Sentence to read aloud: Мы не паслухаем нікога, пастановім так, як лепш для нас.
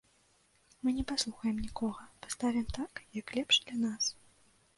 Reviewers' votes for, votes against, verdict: 0, 2, rejected